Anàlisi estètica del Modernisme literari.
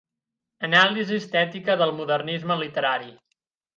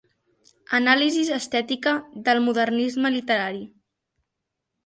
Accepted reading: first